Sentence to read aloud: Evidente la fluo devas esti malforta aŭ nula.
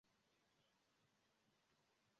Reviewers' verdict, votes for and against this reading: rejected, 0, 2